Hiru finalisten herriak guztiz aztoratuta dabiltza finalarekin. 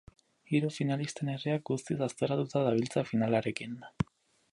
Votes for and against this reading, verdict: 2, 2, rejected